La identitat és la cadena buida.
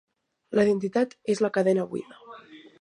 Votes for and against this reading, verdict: 5, 0, accepted